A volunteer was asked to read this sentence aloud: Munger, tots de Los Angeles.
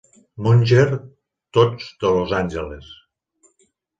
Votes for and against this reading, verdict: 2, 1, accepted